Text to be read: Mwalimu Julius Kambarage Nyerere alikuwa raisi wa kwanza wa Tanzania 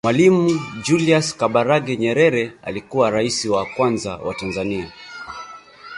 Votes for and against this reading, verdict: 0, 3, rejected